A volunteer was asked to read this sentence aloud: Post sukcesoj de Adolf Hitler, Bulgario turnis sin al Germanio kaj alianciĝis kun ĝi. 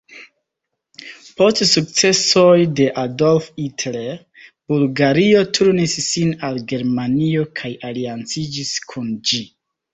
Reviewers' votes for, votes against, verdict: 0, 2, rejected